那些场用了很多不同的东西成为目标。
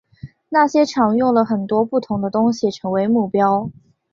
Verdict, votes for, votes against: accepted, 3, 1